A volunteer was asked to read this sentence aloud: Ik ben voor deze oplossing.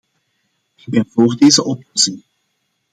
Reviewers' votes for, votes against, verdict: 1, 2, rejected